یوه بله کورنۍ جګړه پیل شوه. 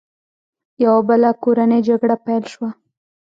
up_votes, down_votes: 1, 2